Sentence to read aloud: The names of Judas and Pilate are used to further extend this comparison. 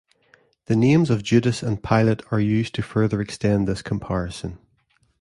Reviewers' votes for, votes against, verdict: 3, 0, accepted